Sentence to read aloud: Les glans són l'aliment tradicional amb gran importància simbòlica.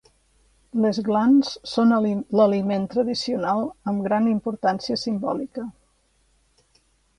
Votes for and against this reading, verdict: 1, 2, rejected